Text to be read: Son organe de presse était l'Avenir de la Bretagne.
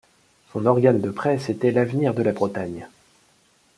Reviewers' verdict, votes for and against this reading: accepted, 2, 0